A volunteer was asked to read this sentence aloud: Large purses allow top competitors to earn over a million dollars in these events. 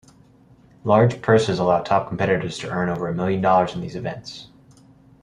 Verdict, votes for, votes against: accepted, 2, 0